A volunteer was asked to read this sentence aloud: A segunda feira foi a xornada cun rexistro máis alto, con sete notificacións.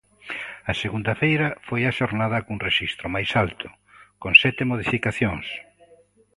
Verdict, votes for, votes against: rejected, 1, 2